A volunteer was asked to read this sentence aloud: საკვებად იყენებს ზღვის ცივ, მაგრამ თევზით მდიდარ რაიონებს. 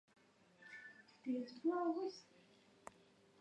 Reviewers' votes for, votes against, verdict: 1, 2, rejected